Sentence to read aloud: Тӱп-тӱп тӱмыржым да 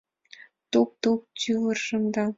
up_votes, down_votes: 3, 0